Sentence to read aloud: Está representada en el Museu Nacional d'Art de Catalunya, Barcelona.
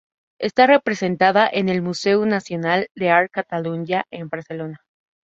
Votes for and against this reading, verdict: 0, 2, rejected